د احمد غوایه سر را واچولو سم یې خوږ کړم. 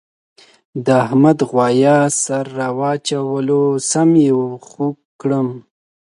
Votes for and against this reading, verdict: 2, 1, accepted